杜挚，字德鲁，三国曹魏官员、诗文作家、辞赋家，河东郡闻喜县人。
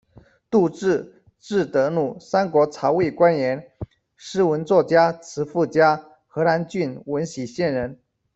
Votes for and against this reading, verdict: 2, 0, accepted